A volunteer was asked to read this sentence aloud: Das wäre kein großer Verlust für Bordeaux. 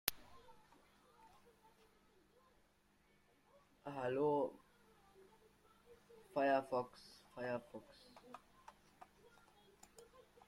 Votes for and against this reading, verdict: 0, 2, rejected